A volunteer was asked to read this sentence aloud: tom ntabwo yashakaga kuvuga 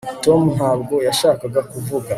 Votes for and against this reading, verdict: 2, 0, accepted